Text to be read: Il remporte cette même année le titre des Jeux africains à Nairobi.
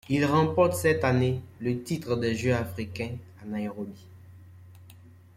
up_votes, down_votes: 1, 2